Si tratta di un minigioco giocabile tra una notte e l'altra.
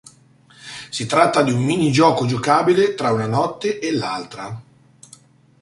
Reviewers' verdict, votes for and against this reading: accepted, 2, 0